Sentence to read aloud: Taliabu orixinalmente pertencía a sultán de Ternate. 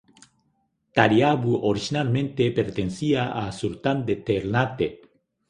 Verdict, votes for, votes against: rejected, 1, 2